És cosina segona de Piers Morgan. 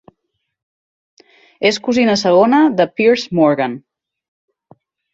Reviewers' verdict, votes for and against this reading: accepted, 12, 0